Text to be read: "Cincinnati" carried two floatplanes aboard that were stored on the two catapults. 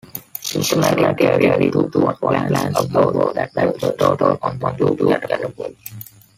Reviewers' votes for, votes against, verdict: 0, 2, rejected